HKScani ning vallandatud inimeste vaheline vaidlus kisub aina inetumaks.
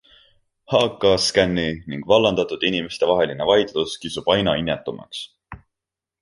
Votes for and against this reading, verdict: 2, 0, accepted